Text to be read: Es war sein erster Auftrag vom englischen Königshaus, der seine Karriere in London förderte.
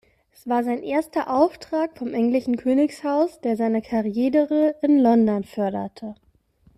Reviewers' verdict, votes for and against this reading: rejected, 0, 2